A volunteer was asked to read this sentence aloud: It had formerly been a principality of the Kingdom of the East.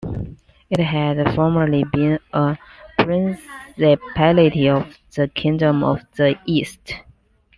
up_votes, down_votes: 2, 1